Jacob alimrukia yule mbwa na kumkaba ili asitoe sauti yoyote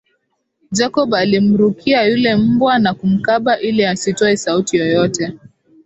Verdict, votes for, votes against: accepted, 3, 0